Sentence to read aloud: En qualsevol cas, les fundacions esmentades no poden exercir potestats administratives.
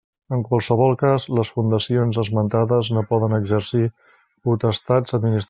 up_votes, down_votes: 0, 2